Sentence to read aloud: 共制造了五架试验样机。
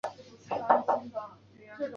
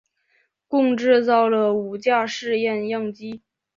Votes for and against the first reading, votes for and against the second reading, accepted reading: 0, 2, 2, 0, second